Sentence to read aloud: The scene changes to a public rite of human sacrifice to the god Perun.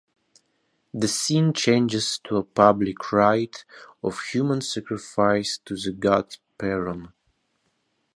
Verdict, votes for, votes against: rejected, 0, 2